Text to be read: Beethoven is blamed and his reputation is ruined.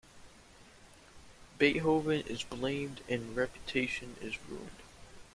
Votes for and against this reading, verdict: 0, 2, rejected